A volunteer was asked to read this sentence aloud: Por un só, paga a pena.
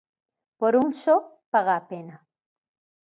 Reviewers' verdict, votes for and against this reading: accepted, 2, 0